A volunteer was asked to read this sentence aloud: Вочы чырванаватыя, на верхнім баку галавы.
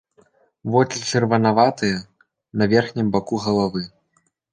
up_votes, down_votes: 2, 0